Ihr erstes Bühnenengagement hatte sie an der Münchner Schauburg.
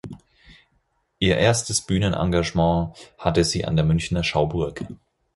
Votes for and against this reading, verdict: 4, 0, accepted